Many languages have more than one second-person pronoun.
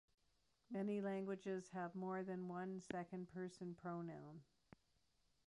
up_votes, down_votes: 2, 0